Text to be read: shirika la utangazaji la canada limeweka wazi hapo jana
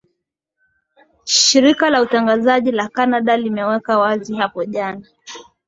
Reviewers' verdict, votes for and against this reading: accepted, 2, 0